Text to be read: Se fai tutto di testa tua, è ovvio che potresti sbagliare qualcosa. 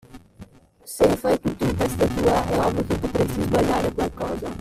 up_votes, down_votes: 0, 2